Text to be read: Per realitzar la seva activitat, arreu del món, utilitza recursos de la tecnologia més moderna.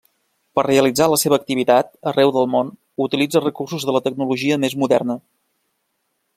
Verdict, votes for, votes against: accepted, 3, 0